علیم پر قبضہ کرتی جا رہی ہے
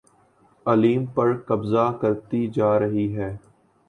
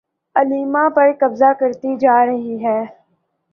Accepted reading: first